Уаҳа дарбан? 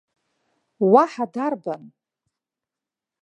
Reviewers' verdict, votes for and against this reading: accepted, 2, 1